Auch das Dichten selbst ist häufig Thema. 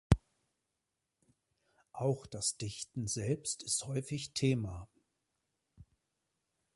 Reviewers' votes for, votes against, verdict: 2, 0, accepted